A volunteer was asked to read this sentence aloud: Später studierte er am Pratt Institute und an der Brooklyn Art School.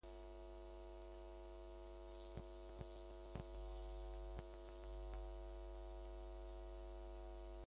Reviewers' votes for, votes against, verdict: 0, 2, rejected